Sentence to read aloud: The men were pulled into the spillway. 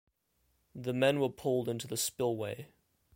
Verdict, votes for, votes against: accepted, 2, 0